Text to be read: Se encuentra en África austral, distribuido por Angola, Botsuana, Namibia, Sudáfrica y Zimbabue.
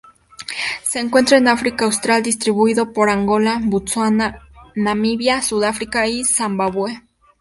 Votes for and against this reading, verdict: 0, 2, rejected